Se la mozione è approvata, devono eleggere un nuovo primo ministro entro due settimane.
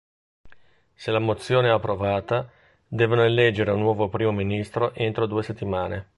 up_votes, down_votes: 2, 0